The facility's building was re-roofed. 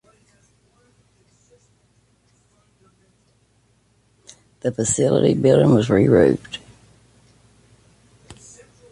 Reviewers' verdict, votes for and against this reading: rejected, 0, 2